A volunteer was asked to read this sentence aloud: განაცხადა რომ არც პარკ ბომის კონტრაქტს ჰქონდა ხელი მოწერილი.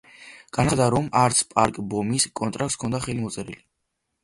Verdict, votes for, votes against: rejected, 1, 2